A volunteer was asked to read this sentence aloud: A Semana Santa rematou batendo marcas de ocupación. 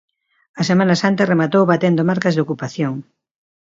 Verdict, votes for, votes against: accepted, 2, 0